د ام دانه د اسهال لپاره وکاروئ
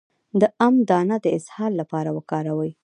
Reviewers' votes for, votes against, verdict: 1, 2, rejected